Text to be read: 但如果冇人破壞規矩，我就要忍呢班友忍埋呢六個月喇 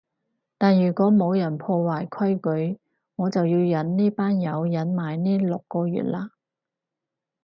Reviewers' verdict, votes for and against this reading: accepted, 4, 0